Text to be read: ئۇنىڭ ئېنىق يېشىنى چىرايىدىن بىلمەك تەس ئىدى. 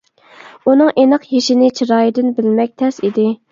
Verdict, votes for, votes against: accepted, 2, 1